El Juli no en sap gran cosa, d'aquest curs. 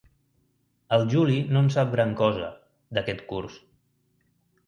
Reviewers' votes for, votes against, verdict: 3, 0, accepted